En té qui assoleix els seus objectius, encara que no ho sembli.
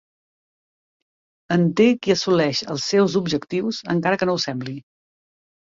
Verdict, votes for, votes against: accepted, 2, 0